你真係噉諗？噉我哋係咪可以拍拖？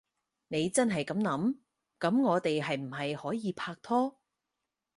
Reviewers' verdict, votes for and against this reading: rejected, 2, 4